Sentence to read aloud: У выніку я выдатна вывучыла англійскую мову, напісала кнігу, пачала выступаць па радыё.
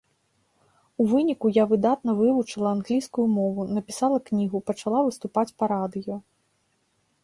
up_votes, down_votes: 3, 0